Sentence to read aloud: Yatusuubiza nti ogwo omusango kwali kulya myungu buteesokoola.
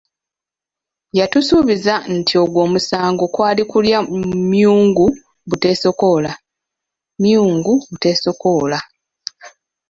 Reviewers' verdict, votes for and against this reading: rejected, 0, 2